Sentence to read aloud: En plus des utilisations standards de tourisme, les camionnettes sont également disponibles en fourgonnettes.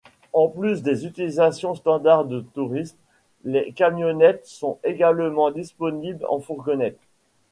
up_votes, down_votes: 2, 0